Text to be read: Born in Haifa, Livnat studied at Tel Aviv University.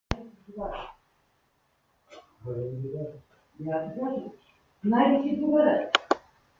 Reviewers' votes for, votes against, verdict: 0, 2, rejected